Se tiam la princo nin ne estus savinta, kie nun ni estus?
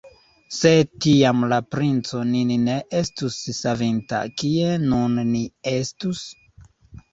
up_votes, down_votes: 1, 2